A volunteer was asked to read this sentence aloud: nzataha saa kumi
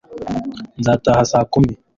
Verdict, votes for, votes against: accepted, 2, 0